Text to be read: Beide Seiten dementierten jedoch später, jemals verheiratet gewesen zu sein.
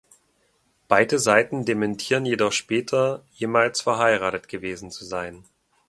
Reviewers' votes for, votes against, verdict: 1, 2, rejected